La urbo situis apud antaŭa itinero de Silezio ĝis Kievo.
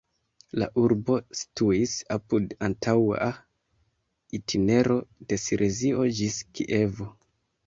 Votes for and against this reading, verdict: 0, 2, rejected